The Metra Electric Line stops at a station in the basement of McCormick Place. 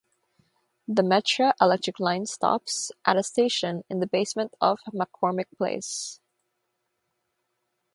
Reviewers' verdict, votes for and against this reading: accepted, 3, 0